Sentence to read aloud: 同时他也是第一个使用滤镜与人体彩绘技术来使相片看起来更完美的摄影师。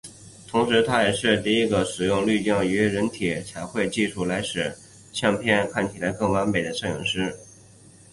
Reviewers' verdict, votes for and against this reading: accepted, 3, 0